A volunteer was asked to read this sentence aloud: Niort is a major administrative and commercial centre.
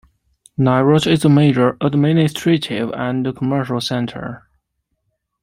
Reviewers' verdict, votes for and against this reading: rejected, 1, 2